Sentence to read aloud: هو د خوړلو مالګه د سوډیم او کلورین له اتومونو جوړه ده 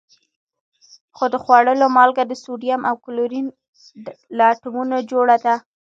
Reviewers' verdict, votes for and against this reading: rejected, 1, 2